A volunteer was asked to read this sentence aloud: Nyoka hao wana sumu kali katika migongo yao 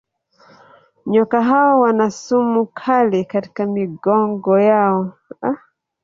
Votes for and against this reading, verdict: 1, 2, rejected